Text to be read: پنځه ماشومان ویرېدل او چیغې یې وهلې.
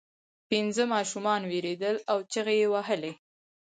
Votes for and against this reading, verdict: 2, 4, rejected